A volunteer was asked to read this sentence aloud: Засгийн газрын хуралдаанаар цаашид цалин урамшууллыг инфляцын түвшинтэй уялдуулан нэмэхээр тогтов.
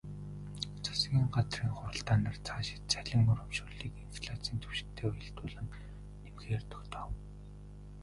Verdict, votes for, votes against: rejected, 1, 2